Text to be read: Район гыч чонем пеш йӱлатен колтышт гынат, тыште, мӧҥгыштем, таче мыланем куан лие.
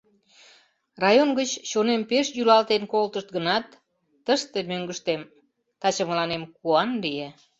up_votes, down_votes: 3, 0